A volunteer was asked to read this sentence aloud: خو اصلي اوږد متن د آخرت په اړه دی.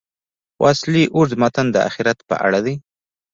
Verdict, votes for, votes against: rejected, 1, 2